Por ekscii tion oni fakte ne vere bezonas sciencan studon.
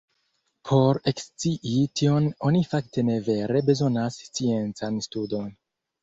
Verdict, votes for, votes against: accepted, 2, 0